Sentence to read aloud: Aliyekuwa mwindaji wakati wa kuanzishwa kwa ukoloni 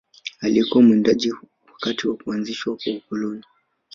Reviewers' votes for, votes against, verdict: 2, 0, accepted